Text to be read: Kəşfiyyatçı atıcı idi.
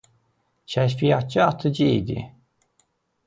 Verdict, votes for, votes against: accepted, 2, 0